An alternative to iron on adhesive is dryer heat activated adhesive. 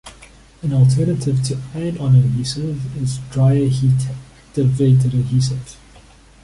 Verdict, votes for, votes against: rejected, 0, 2